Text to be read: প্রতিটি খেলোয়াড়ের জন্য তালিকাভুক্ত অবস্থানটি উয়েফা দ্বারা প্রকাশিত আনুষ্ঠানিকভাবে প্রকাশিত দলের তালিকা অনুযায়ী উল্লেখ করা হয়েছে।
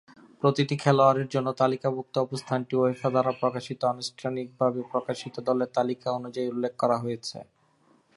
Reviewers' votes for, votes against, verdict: 2, 0, accepted